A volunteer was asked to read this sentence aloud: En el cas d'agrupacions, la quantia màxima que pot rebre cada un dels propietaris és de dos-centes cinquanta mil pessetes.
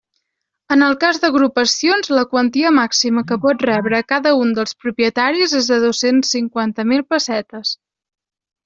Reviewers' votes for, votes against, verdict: 1, 2, rejected